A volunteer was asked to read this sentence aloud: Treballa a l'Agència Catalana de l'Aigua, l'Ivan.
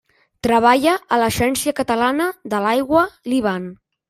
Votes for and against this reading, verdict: 1, 2, rejected